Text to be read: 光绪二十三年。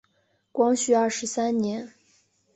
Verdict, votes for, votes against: accepted, 2, 0